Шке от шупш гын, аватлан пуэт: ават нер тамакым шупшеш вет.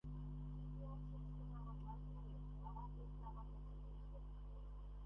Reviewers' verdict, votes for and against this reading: rejected, 0, 2